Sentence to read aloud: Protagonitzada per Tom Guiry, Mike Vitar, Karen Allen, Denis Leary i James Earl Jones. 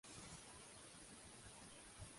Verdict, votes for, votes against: rejected, 0, 2